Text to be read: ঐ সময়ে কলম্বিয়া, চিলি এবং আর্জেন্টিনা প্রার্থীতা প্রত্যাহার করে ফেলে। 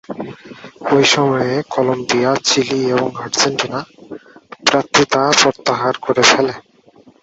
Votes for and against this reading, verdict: 2, 0, accepted